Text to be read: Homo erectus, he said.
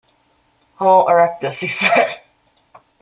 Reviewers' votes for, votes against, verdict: 1, 2, rejected